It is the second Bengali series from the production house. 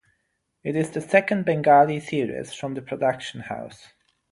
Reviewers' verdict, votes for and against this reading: accepted, 6, 0